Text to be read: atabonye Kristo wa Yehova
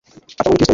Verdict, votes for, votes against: accepted, 2, 0